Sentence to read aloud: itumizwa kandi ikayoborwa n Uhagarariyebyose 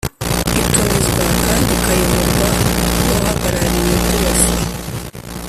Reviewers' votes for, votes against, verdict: 1, 2, rejected